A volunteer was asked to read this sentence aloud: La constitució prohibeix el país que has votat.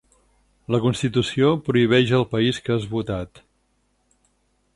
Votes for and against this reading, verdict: 6, 0, accepted